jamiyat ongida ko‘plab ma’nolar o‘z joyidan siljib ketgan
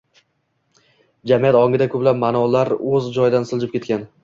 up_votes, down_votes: 2, 0